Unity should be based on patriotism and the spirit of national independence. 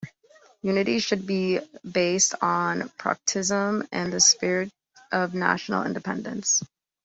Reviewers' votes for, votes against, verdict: 0, 2, rejected